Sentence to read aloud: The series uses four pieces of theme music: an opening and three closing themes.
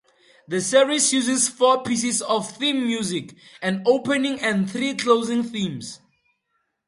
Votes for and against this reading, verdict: 2, 0, accepted